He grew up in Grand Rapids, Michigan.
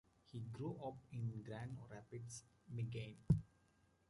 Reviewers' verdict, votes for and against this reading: rejected, 0, 2